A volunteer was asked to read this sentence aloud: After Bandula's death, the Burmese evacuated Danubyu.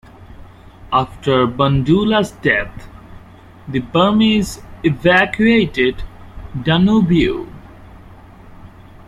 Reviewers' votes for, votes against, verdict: 2, 0, accepted